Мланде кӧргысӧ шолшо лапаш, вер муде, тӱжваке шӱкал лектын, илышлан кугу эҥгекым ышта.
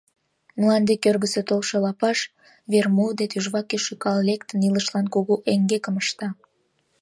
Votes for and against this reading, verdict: 0, 2, rejected